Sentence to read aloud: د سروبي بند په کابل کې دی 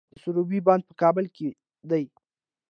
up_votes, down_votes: 2, 0